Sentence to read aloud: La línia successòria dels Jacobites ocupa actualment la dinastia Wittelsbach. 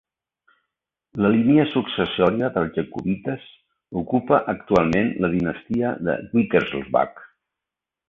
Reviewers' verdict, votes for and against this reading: rejected, 1, 2